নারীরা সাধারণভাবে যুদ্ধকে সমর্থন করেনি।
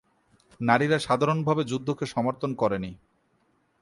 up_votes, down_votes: 4, 0